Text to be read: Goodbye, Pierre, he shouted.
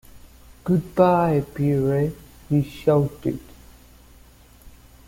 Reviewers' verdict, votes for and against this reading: rejected, 1, 2